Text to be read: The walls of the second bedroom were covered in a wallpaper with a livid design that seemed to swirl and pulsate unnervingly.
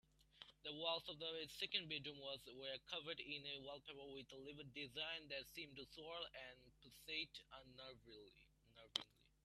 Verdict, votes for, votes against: rejected, 1, 2